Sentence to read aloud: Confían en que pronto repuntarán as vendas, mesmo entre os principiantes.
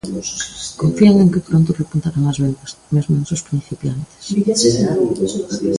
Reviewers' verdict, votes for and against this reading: rejected, 1, 2